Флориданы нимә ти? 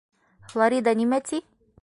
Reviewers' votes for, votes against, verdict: 0, 2, rejected